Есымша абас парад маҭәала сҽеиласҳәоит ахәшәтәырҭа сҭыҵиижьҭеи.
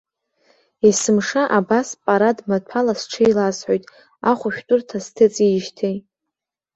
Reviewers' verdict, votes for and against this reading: accepted, 2, 0